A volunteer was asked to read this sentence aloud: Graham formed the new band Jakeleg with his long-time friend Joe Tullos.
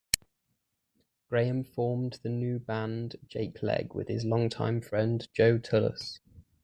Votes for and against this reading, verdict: 2, 0, accepted